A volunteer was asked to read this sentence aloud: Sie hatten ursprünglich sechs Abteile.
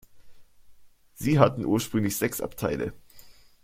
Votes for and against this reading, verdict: 2, 0, accepted